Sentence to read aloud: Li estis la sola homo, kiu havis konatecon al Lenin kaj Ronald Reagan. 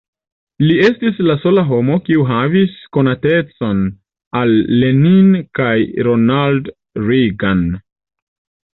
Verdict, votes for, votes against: rejected, 1, 2